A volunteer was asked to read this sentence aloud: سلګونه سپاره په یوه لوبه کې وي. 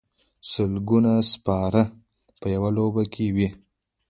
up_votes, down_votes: 2, 0